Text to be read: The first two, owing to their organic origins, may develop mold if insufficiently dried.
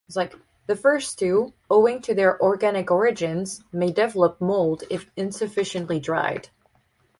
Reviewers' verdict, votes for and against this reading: accepted, 4, 0